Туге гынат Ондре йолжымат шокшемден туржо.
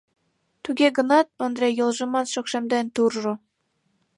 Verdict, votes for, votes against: accepted, 2, 0